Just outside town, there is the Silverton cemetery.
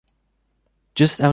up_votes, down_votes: 0, 2